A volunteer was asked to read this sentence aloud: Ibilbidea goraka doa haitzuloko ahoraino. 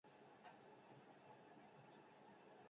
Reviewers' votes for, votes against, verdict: 0, 6, rejected